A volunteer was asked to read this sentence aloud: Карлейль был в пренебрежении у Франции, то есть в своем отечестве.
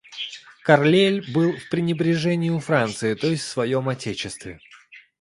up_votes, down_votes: 2, 0